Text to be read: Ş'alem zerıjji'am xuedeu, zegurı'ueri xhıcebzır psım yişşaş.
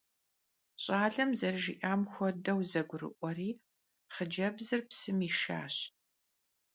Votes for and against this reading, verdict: 2, 0, accepted